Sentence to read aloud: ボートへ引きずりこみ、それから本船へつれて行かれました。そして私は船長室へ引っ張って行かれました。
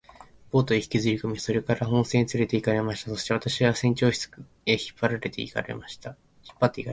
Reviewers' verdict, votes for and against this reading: rejected, 1, 2